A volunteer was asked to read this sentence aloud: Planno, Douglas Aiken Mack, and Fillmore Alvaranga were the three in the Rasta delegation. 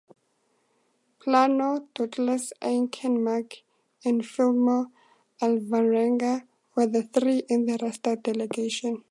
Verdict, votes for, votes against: accepted, 2, 0